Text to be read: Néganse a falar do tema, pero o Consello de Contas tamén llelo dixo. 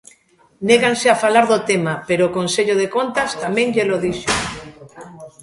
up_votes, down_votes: 2, 0